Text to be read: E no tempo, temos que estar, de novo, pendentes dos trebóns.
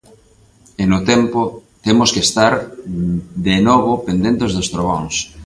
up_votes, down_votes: 3, 0